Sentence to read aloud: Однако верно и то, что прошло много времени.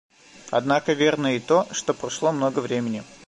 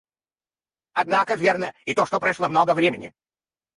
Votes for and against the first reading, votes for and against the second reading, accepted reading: 2, 0, 0, 4, first